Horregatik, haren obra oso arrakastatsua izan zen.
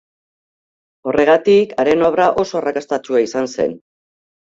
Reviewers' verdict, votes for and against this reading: accepted, 2, 0